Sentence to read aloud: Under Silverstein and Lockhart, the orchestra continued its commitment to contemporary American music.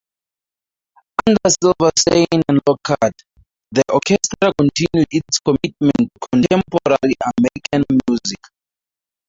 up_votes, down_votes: 0, 2